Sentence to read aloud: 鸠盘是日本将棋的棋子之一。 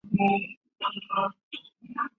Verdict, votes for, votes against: rejected, 0, 2